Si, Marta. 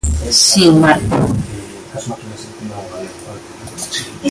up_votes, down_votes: 0, 2